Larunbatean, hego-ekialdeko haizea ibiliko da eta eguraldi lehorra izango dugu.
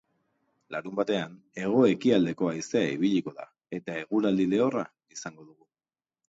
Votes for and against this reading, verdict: 2, 0, accepted